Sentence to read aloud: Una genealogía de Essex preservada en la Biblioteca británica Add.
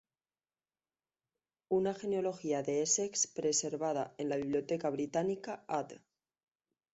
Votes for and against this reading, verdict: 2, 0, accepted